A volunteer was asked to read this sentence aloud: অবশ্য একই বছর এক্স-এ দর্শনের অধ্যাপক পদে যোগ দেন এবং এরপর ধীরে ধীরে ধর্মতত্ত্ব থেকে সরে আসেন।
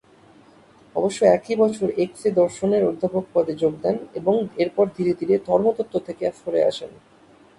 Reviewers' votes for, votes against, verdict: 7, 0, accepted